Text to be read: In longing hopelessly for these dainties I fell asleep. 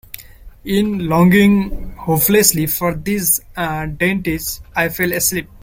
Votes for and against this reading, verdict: 0, 2, rejected